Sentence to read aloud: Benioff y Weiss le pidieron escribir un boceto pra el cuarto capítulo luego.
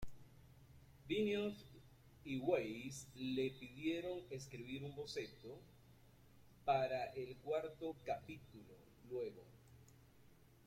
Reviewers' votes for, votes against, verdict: 0, 2, rejected